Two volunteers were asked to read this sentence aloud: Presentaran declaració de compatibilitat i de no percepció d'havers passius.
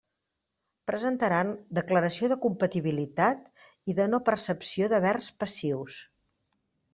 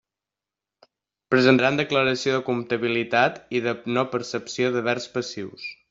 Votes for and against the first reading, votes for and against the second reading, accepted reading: 2, 0, 1, 2, first